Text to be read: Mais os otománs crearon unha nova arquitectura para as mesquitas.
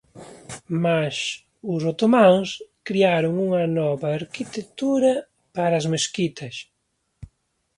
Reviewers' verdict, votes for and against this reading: accepted, 2, 0